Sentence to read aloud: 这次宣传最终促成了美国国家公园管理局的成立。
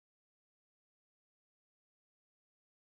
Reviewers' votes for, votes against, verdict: 2, 3, rejected